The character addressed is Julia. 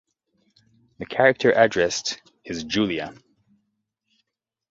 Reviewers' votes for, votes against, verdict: 2, 0, accepted